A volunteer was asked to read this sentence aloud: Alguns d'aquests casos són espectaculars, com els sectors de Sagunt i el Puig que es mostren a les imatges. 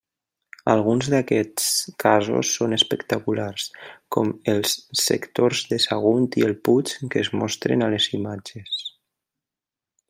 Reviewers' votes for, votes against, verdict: 3, 0, accepted